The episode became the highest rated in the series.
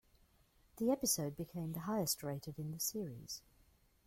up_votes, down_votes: 2, 0